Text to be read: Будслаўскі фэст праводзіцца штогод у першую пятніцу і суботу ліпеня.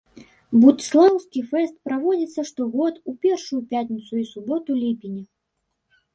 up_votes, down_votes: 2, 1